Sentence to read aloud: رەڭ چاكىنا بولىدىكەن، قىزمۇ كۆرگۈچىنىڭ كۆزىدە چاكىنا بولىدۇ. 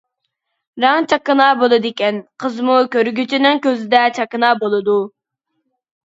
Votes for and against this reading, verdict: 2, 0, accepted